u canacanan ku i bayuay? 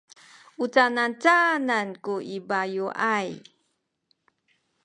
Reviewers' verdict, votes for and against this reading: rejected, 0, 2